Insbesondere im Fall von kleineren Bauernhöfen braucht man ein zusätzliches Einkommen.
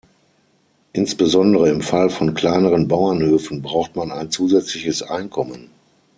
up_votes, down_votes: 9, 6